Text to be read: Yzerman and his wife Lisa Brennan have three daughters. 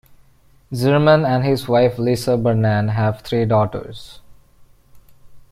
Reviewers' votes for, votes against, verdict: 1, 2, rejected